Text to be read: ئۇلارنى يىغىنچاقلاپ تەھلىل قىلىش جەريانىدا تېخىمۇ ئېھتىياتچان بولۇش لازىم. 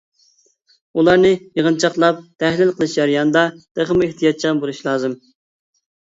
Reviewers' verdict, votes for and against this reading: accepted, 2, 0